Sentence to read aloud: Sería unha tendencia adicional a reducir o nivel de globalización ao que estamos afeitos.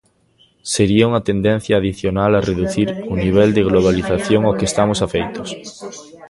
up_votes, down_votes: 2, 1